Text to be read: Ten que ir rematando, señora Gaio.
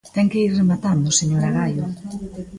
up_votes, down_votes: 2, 1